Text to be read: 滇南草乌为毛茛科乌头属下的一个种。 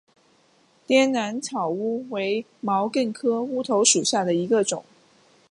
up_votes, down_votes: 2, 1